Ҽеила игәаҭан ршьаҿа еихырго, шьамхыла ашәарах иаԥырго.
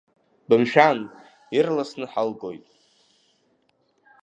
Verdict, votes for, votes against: rejected, 0, 2